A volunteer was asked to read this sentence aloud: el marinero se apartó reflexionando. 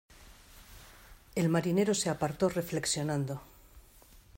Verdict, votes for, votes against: accepted, 2, 0